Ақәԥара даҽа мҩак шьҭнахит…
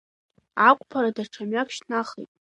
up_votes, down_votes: 1, 2